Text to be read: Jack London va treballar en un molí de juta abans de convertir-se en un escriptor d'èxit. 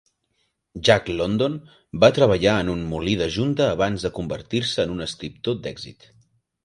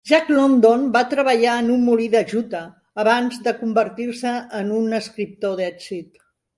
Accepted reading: second